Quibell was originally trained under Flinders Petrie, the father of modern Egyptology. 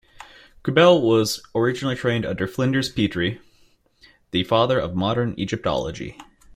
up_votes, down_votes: 2, 0